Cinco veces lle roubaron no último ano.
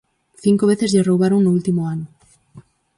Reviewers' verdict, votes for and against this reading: accepted, 4, 0